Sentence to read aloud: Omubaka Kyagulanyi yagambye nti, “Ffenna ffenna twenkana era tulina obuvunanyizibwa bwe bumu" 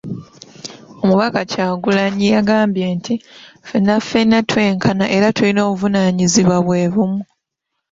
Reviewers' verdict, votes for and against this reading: rejected, 1, 2